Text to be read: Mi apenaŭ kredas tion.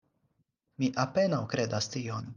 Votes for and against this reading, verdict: 4, 0, accepted